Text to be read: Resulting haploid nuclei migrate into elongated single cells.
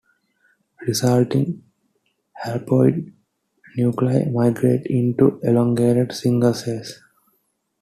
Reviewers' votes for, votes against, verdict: 2, 0, accepted